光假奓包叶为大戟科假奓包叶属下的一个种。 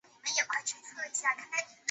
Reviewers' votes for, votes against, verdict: 0, 2, rejected